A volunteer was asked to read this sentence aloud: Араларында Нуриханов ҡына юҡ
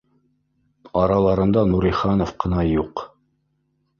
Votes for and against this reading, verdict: 0, 2, rejected